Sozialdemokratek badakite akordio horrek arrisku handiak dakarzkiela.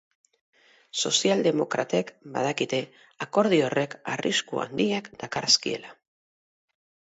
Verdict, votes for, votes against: accepted, 4, 0